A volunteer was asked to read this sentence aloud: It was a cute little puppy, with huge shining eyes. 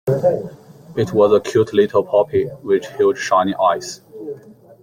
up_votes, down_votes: 1, 2